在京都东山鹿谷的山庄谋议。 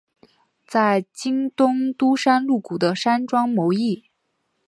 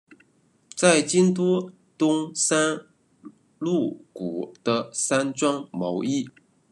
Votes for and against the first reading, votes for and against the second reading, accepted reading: 3, 0, 1, 2, first